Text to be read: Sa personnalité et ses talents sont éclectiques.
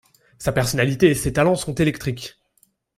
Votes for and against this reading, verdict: 0, 2, rejected